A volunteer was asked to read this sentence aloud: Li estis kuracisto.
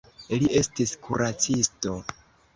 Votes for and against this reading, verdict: 2, 0, accepted